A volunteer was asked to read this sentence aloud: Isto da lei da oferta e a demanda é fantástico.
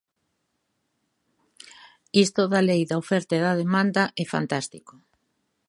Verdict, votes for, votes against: rejected, 1, 2